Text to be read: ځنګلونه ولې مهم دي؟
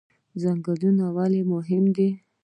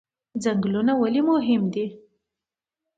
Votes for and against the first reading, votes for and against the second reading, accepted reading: 0, 2, 2, 0, second